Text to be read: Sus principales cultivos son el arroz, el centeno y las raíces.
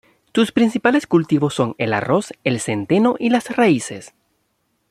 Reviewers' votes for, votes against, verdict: 1, 2, rejected